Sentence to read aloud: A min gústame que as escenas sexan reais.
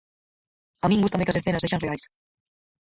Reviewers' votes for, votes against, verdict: 0, 4, rejected